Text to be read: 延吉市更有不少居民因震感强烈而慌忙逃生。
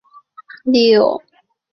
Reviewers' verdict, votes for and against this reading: accepted, 2, 1